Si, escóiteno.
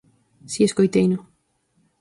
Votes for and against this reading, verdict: 2, 4, rejected